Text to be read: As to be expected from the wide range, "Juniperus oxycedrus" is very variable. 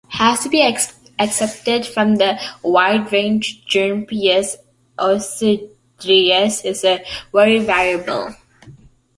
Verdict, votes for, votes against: rejected, 0, 2